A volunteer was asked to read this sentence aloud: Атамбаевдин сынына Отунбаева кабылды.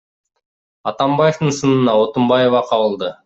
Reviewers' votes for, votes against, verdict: 2, 0, accepted